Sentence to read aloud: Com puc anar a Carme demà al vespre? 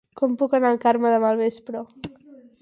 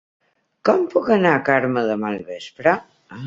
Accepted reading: second